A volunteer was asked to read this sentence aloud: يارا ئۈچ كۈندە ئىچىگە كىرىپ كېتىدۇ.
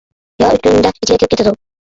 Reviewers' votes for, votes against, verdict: 0, 2, rejected